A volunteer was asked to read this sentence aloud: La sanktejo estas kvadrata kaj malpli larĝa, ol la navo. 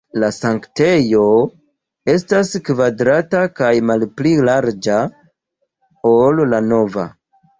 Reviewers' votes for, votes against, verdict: 0, 2, rejected